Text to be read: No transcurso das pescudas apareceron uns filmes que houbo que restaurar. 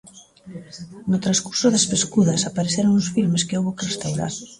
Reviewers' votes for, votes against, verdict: 0, 2, rejected